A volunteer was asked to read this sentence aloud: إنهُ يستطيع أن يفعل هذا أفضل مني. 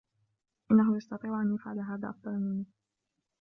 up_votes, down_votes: 2, 0